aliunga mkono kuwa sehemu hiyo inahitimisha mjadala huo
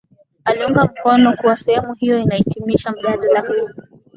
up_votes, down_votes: 3, 2